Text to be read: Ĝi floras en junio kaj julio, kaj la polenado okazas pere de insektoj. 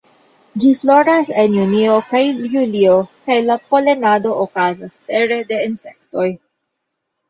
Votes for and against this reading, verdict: 2, 1, accepted